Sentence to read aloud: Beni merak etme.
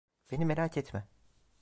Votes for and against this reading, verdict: 2, 0, accepted